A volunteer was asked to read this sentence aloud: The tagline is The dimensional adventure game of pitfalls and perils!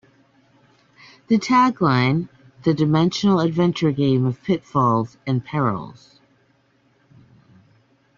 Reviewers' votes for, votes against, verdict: 0, 2, rejected